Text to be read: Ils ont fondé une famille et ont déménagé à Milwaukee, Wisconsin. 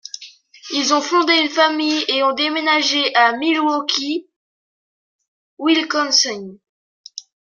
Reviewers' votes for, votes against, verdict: 1, 2, rejected